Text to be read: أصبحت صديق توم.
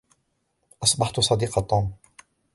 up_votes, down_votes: 2, 1